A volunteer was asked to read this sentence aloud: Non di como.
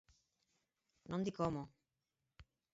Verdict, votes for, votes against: accepted, 4, 2